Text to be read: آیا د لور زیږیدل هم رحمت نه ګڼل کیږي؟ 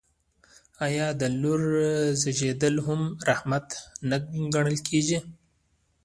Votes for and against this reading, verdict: 2, 1, accepted